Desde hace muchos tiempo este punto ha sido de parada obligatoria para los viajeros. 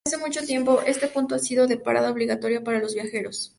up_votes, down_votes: 2, 2